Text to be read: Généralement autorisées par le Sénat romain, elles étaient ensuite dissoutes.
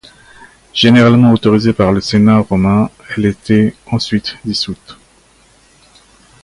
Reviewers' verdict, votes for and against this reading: rejected, 1, 2